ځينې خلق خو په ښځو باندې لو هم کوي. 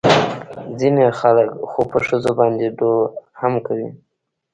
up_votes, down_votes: 2, 0